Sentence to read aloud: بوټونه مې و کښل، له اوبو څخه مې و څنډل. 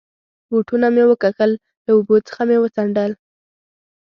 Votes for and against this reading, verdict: 2, 0, accepted